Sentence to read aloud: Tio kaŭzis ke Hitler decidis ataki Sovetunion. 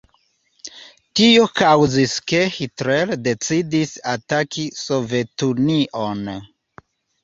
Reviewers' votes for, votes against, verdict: 2, 0, accepted